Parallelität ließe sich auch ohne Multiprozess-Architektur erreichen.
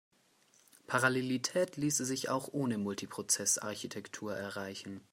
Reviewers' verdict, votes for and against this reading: accepted, 2, 0